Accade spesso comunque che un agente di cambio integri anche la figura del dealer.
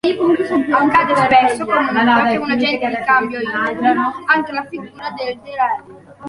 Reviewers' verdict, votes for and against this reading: rejected, 0, 2